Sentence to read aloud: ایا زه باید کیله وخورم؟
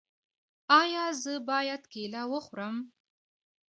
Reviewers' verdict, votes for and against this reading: accepted, 2, 0